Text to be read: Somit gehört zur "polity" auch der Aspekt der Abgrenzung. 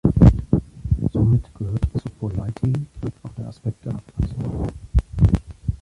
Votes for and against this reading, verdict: 1, 2, rejected